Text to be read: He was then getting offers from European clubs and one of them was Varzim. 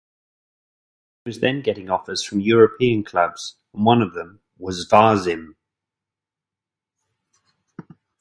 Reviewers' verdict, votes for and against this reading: rejected, 1, 2